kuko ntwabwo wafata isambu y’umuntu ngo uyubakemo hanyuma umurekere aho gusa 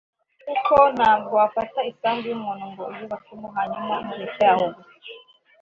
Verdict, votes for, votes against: accepted, 2, 0